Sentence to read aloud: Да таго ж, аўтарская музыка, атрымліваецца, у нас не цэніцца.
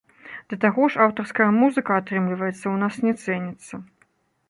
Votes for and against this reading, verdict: 2, 0, accepted